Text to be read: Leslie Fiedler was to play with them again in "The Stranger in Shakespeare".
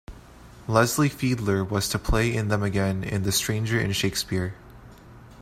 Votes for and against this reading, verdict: 0, 2, rejected